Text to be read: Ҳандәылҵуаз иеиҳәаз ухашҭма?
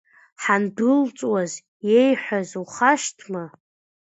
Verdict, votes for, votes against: rejected, 1, 2